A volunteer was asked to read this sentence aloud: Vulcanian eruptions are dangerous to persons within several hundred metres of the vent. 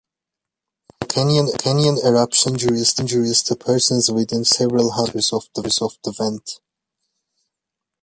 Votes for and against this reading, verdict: 0, 2, rejected